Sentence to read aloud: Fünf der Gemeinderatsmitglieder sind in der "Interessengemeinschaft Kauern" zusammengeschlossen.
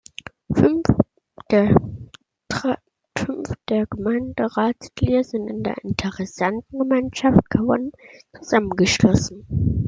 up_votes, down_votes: 0, 2